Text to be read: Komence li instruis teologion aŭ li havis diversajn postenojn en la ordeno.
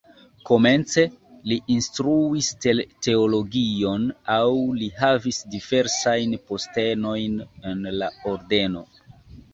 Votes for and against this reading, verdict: 2, 0, accepted